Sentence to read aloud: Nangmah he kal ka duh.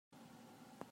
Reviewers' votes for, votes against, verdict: 0, 2, rejected